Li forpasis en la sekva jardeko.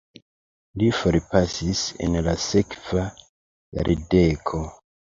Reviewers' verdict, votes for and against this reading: accepted, 2, 0